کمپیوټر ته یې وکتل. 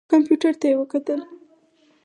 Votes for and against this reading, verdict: 2, 4, rejected